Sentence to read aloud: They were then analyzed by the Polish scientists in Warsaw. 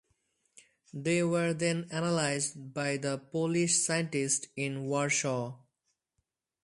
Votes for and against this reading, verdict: 4, 2, accepted